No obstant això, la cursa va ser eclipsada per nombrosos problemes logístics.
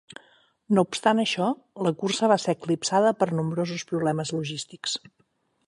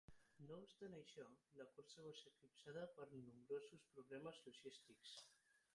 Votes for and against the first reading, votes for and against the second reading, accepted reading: 9, 0, 0, 6, first